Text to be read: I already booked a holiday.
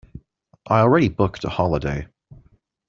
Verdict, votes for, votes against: accepted, 2, 0